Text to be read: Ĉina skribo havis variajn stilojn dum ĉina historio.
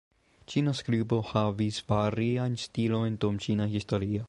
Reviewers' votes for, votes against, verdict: 2, 1, accepted